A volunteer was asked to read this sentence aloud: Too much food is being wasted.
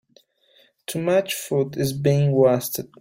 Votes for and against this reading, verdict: 1, 2, rejected